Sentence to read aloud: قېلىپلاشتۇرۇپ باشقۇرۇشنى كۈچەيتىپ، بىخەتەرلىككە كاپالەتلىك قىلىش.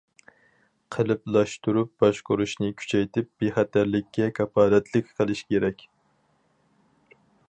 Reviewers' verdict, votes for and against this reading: rejected, 2, 4